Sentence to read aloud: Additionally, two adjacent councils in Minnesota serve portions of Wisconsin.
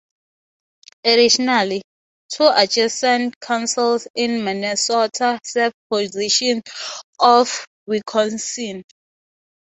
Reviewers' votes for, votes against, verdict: 0, 6, rejected